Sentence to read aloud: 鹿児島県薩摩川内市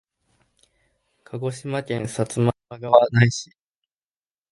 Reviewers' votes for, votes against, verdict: 0, 2, rejected